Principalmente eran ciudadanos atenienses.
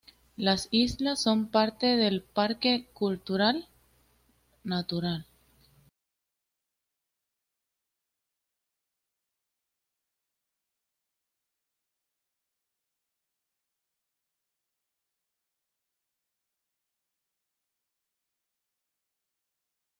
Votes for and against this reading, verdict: 0, 2, rejected